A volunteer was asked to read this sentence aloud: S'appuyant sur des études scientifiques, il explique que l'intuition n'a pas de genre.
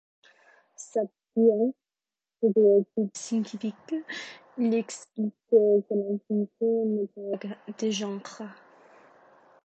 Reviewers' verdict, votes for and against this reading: rejected, 0, 2